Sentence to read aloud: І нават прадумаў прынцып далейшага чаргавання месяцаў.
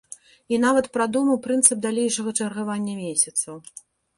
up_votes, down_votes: 2, 0